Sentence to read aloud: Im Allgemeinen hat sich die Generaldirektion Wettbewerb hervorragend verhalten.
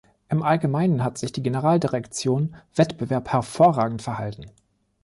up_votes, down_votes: 3, 0